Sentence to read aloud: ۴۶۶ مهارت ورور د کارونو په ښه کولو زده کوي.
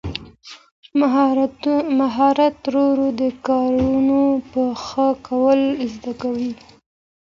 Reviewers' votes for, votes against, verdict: 0, 2, rejected